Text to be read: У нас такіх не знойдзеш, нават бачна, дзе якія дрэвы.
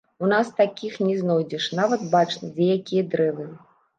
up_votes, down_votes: 2, 0